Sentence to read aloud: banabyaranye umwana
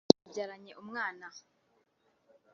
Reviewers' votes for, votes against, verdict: 1, 2, rejected